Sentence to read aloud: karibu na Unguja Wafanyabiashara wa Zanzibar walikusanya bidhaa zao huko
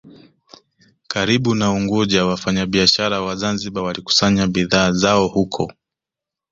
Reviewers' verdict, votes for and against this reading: accepted, 2, 1